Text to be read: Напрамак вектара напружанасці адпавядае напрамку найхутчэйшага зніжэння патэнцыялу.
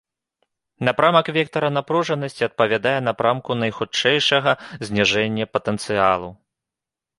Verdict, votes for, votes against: rejected, 0, 2